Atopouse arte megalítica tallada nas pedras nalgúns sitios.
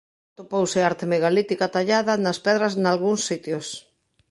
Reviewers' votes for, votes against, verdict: 2, 1, accepted